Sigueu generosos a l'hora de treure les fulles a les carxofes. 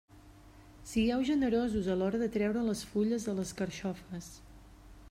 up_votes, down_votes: 2, 0